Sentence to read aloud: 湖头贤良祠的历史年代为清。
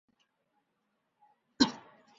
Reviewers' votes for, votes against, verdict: 0, 2, rejected